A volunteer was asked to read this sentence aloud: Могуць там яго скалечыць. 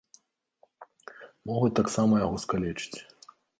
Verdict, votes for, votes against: rejected, 0, 2